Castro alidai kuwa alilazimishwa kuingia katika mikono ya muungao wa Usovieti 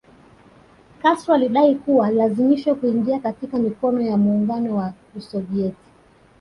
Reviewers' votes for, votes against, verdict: 2, 1, accepted